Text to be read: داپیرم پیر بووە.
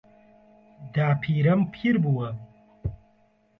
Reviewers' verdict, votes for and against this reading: rejected, 1, 2